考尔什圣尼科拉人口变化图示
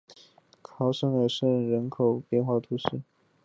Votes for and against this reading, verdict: 2, 0, accepted